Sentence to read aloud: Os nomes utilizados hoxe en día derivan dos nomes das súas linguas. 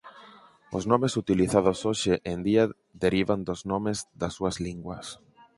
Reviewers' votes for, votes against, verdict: 4, 0, accepted